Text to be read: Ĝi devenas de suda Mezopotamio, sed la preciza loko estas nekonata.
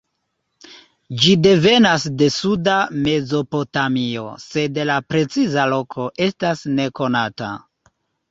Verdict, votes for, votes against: accepted, 2, 0